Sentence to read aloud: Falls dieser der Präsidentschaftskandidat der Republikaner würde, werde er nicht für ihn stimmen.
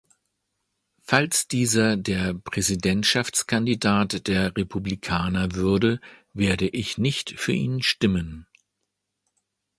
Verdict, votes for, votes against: rejected, 1, 2